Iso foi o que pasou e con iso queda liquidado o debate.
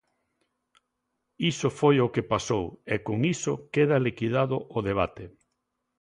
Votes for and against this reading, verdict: 2, 0, accepted